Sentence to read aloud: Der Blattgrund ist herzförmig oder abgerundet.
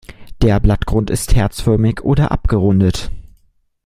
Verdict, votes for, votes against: accepted, 2, 0